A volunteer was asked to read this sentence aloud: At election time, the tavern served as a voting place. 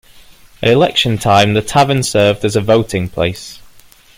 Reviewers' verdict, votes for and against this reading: accepted, 2, 0